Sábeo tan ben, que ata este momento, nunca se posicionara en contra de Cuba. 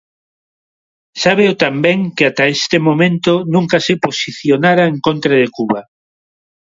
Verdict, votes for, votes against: accepted, 2, 0